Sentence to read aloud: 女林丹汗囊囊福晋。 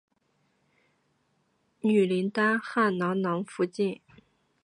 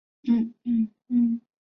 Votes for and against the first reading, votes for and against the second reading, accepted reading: 5, 2, 0, 2, first